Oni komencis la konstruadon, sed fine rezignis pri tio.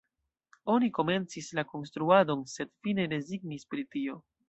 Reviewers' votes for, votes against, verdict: 1, 2, rejected